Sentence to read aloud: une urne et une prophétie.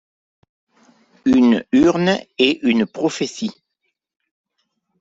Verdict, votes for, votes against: accepted, 2, 0